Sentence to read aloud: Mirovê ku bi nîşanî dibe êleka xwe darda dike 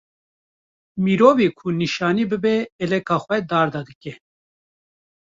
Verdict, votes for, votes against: rejected, 1, 2